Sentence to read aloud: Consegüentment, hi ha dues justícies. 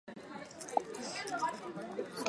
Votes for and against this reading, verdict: 0, 4, rejected